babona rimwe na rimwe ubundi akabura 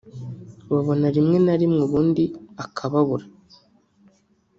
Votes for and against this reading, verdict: 0, 2, rejected